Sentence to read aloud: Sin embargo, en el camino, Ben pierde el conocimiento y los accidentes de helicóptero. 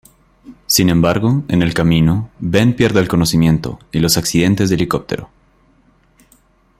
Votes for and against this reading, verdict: 2, 0, accepted